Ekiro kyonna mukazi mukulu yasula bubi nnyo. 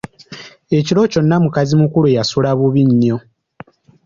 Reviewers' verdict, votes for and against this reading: accepted, 2, 0